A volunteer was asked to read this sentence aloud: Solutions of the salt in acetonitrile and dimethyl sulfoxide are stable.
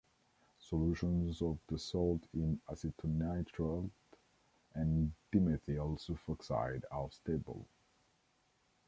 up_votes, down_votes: 1, 2